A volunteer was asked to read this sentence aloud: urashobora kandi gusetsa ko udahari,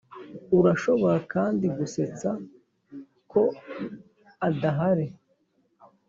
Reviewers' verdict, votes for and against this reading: rejected, 1, 2